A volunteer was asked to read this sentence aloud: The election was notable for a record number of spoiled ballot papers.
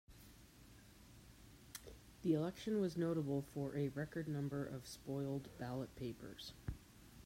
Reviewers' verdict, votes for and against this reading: accepted, 2, 0